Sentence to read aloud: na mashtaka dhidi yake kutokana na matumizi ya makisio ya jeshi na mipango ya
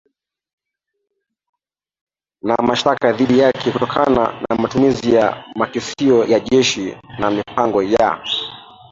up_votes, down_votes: 0, 2